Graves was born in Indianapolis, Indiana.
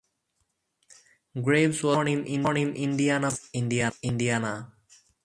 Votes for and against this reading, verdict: 0, 4, rejected